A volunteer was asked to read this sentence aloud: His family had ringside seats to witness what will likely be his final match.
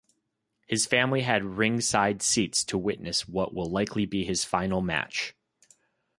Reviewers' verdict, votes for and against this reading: accepted, 2, 0